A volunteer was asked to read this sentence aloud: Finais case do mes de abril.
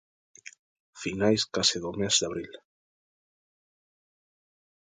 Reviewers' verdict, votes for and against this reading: accepted, 2, 0